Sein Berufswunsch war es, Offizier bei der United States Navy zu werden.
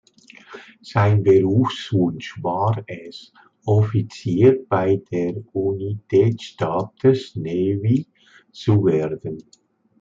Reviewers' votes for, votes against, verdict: 1, 2, rejected